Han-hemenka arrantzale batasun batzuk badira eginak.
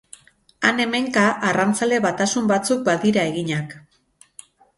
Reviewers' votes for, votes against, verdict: 6, 2, accepted